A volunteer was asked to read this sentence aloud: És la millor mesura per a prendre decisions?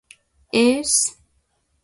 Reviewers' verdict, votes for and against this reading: rejected, 1, 2